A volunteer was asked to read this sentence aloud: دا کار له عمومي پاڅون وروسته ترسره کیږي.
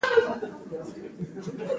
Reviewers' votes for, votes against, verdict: 2, 0, accepted